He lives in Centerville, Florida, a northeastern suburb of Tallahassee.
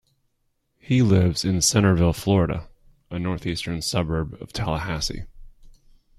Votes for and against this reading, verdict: 2, 0, accepted